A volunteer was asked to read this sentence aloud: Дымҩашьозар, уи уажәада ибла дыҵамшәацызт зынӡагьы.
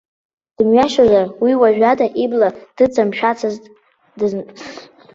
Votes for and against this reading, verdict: 1, 2, rejected